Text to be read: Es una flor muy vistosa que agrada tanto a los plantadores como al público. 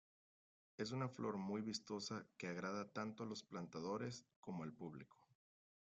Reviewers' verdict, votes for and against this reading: accepted, 2, 1